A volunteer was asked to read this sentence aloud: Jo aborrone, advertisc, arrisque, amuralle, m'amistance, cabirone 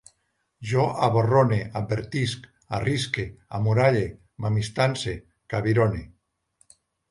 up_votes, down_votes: 2, 0